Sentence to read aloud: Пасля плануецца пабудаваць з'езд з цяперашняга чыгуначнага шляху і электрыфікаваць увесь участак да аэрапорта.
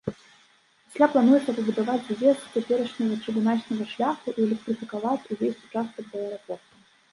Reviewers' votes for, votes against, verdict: 1, 2, rejected